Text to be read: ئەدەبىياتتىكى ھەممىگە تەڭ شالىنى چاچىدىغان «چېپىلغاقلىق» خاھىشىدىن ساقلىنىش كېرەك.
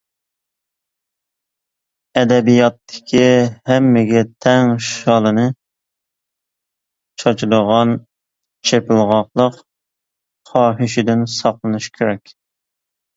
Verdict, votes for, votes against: accepted, 2, 1